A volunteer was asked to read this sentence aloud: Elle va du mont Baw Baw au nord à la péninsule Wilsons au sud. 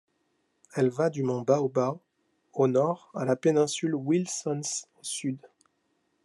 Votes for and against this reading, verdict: 1, 2, rejected